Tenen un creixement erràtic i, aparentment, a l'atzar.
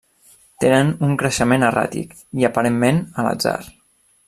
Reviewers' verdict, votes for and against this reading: accepted, 2, 0